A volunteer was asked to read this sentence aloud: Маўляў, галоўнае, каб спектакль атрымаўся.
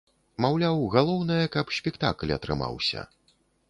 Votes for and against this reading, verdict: 2, 0, accepted